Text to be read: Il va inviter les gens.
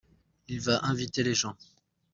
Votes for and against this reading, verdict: 2, 0, accepted